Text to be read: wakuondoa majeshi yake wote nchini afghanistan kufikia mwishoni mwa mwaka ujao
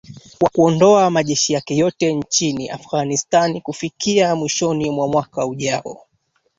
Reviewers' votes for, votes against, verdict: 1, 2, rejected